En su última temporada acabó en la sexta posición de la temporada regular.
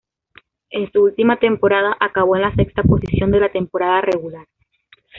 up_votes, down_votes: 2, 0